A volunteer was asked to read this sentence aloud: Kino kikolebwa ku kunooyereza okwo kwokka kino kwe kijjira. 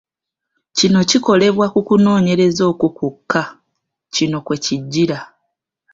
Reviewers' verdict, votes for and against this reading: rejected, 0, 2